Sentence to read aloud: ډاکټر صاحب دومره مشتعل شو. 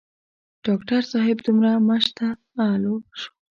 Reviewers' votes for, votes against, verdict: 2, 0, accepted